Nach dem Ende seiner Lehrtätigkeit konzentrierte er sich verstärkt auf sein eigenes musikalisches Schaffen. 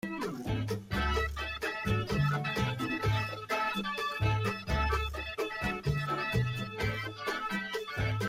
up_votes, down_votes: 0, 2